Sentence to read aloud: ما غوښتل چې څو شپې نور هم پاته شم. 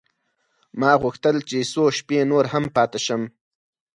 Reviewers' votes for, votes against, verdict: 4, 0, accepted